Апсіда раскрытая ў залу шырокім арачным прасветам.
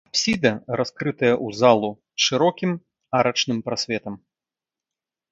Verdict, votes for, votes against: rejected, 0, 2